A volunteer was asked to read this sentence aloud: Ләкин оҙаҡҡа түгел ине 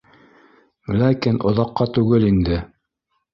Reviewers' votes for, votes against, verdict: 1, 2, rejected